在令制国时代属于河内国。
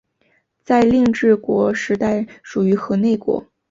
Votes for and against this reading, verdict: 4, 1, accepted